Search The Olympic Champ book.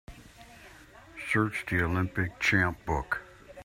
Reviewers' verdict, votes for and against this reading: accepted, 2, 0